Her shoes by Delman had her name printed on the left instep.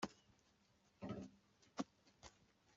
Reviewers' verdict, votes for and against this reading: rejected, 0, 2